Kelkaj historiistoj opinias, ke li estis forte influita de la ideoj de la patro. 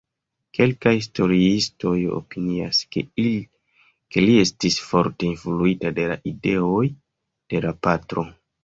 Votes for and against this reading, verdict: 0, 2, rejected